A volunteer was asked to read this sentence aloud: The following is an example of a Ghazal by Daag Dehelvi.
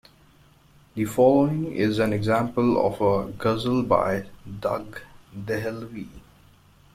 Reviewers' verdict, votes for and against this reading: accepted, 2, 1